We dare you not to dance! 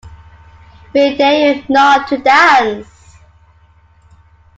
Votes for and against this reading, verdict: 2, 1, accepted